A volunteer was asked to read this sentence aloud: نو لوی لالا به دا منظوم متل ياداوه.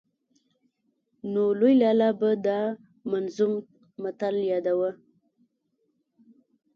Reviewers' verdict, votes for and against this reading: accepted, 2, 0